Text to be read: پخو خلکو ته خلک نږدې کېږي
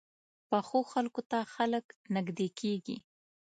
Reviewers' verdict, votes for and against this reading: accepted, 2, 0